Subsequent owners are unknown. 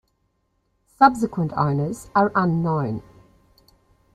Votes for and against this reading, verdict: 3, 2, accepted